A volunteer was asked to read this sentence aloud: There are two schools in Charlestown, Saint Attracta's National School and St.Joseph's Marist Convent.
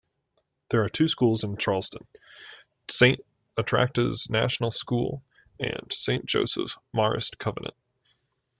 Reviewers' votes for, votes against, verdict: 1, 2, rejected